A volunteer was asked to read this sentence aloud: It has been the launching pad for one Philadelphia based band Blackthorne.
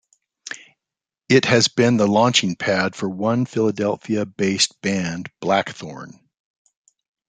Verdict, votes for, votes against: accepted, 2, 0